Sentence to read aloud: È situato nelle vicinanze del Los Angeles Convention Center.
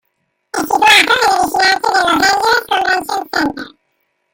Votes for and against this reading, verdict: 0, 2, rejected